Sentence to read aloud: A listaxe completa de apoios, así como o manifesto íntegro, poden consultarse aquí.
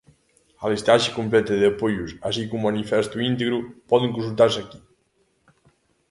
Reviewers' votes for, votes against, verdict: 2, 0, accepted